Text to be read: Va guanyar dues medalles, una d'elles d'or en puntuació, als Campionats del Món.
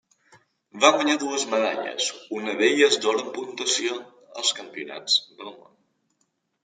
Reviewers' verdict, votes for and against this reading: accepted, 2, 1